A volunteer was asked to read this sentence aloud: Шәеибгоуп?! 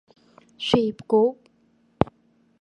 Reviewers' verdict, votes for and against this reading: rejected, 0, 2